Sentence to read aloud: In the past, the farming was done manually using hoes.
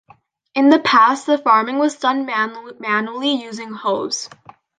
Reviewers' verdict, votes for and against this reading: rejected, 0, 2